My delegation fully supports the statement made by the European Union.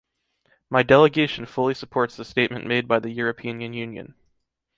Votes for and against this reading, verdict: 0, 2, rejected